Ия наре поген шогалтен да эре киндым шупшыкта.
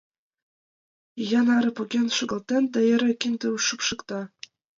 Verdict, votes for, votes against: accepted, 2, 0